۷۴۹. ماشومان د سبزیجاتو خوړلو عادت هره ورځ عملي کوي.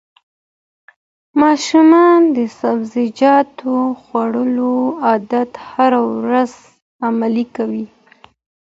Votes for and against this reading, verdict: 0, 2, rejected